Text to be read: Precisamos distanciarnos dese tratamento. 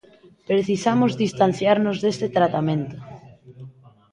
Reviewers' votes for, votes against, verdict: 0, 2, rejected